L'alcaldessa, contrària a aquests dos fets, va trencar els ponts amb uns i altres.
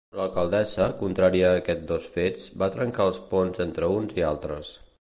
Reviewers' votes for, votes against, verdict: 0, 2, rejected